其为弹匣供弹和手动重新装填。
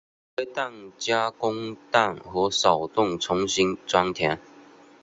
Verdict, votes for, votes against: rejected, 1, 2